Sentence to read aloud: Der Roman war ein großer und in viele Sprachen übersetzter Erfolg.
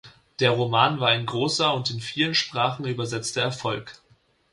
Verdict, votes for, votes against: accepted, 2, 0